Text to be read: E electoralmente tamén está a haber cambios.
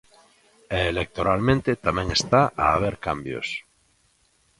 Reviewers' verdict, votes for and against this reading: accepted, 2, 0